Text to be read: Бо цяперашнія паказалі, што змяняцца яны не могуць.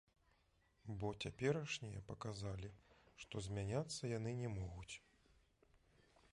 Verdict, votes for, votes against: accepted, 2, 1